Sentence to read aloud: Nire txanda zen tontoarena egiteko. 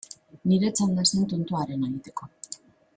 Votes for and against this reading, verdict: 1, 2, rejected